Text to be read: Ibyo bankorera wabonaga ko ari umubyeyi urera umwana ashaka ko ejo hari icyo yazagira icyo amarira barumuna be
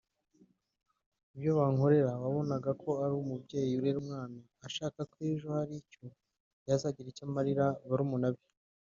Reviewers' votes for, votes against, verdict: 0, 2, rejected